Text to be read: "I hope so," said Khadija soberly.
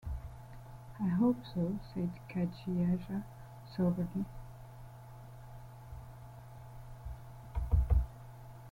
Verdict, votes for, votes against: rejected, 0, 2